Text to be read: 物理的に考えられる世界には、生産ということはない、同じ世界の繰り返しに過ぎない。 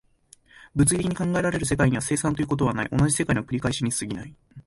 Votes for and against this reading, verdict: 1, 2, rejected